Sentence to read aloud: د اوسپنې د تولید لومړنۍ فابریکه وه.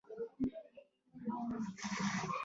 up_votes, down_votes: 0, 2